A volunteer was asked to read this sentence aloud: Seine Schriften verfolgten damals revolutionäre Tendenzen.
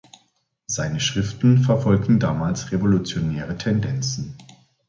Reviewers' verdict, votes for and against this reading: accepted, 2, 0